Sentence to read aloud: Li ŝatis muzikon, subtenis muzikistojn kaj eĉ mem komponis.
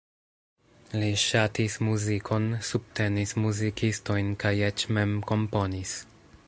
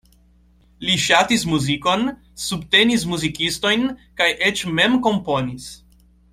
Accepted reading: second